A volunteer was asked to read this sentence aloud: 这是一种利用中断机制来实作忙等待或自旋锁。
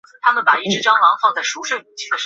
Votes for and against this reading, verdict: 1, 2, rejected